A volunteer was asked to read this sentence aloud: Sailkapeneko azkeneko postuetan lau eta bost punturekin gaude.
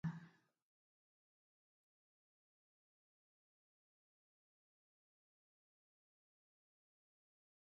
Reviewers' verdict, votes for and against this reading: rejected, 0, 8